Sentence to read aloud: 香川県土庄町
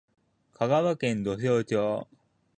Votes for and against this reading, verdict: 0, 2, rejected